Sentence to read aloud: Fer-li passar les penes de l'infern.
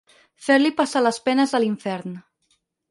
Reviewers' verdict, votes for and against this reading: rejected, 0, 4